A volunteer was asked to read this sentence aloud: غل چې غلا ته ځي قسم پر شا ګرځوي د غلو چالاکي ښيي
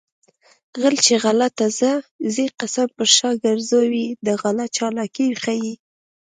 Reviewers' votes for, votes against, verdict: 2, 0, accepted